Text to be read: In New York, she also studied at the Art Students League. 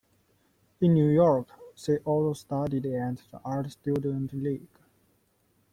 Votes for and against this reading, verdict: 0, 2, rejected